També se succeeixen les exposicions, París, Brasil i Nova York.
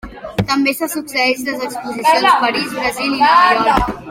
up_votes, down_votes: 1, 2